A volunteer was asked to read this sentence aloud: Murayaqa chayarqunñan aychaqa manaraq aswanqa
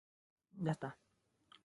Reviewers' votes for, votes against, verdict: 0, 4, rejected